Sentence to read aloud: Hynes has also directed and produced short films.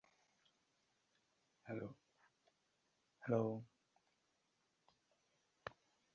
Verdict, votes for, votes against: rejected, 0, 2